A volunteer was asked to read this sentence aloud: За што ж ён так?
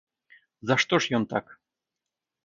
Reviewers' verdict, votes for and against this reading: accepted, 2, 0